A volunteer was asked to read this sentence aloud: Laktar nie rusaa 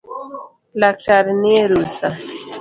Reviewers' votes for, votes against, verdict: 2, 0, accepted